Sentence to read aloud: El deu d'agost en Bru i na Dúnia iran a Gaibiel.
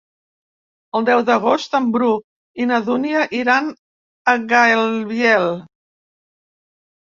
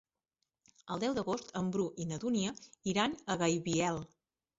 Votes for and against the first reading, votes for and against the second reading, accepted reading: 1, 2, 3, 0, second